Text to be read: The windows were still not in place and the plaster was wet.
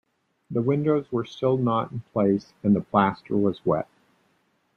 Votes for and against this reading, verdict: 2, 0, accepted